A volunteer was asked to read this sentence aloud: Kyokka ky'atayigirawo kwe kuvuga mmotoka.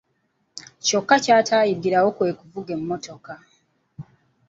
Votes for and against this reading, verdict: 0, 2, rejected